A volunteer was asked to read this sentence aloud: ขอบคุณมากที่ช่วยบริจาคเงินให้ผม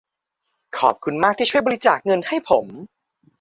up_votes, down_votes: 2, 0